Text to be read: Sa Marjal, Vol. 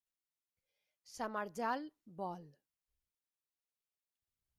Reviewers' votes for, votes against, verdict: 1, 2, rejected